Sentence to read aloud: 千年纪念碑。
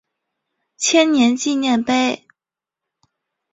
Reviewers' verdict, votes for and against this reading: accepted, 2, 0